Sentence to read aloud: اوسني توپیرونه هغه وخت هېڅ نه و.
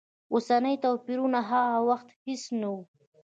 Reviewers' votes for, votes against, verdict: 2, 1, accepted